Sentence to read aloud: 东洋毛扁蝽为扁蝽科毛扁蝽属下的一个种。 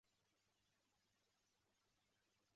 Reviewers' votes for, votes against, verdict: 1, 2, rejected